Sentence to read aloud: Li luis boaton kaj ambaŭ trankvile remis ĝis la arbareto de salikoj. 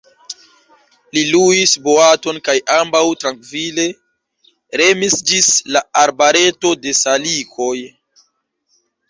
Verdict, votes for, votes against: accepted, 2, 0